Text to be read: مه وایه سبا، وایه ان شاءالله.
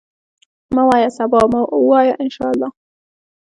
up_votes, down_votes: 2, 0